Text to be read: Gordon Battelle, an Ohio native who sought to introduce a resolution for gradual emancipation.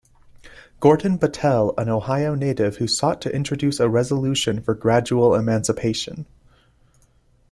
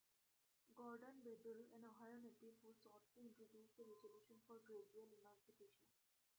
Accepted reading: first